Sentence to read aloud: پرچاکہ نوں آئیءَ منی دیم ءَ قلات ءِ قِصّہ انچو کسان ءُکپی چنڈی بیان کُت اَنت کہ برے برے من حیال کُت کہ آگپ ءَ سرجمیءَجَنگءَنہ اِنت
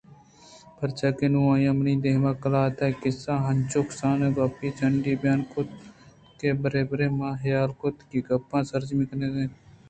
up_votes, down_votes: 2, 0